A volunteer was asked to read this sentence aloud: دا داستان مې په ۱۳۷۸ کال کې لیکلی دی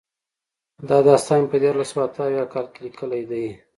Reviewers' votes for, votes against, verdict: 0, 2, rejected